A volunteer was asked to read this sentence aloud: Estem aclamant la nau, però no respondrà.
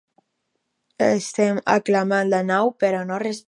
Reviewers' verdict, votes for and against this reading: rejected, 2, 4